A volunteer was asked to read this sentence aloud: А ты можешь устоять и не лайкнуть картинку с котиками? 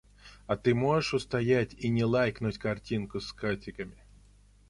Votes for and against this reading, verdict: 1, 2, rejected